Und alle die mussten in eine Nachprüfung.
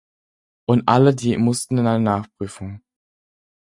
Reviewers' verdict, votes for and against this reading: accepted, 4, 0